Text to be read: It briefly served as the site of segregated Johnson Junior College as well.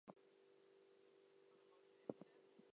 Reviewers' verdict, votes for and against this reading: rejected, 0, 2